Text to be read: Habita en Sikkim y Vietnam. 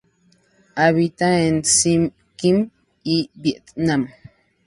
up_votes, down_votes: 0, 2